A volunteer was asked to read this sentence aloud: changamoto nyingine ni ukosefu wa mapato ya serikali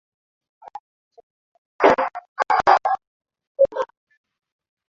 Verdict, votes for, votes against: rejected, 1, 10